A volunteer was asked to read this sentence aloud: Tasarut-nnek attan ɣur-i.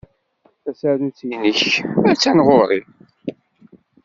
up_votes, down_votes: 2, 0